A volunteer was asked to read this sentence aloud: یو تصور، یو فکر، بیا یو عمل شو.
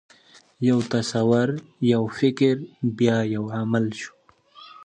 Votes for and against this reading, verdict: 2, 0, accepted